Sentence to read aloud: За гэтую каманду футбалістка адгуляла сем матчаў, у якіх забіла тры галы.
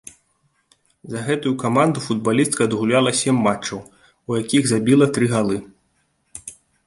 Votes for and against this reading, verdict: 2, 0, accepted